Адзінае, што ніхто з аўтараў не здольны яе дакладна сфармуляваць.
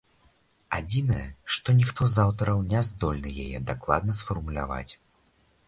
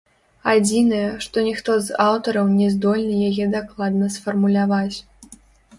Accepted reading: first